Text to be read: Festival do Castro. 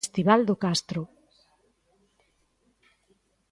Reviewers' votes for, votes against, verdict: 1, 2, rejected